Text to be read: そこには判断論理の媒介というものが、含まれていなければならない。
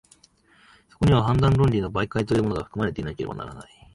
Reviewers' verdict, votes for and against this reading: accepted, 2, 0